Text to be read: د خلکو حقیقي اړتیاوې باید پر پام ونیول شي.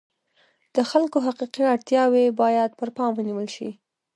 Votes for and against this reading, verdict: 1, 2, rejected